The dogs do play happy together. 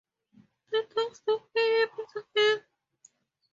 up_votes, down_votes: 2, 2